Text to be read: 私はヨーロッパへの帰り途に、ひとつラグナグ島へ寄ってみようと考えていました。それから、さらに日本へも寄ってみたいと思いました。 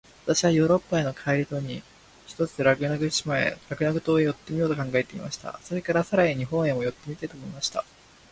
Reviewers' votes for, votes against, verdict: 0, 2, rejected